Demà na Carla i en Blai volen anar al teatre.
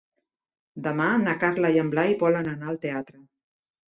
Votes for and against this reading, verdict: 3, 0, accepted